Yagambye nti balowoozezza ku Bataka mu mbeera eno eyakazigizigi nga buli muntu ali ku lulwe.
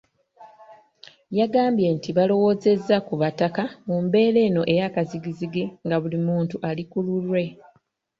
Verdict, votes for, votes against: accepted, 3, 0